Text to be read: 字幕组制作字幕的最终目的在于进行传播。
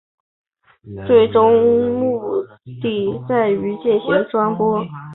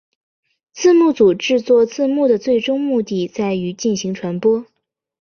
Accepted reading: second